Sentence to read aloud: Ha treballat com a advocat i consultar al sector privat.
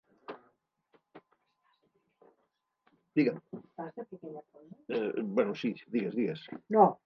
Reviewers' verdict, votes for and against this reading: rejected, 0, 2